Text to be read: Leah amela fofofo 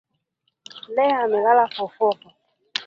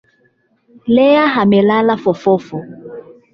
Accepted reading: first